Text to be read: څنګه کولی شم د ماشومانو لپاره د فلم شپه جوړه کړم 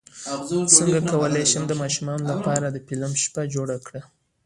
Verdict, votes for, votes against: accepted, 2, 1